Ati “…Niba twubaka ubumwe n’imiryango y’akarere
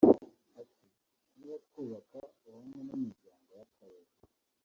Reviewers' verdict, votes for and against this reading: rejected, 1, 2